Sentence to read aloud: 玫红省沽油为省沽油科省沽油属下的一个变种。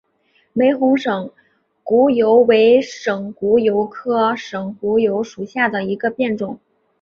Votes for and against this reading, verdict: 3, 0, accepted